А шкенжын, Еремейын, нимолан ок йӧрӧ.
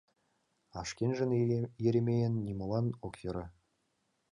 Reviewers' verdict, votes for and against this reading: rejected, 1, 2